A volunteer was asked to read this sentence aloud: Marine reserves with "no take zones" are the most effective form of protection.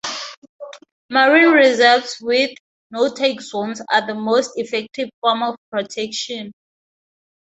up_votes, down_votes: 2, 0